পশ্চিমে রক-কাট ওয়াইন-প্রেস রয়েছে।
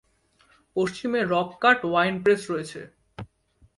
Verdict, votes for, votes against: accepted, 2, 0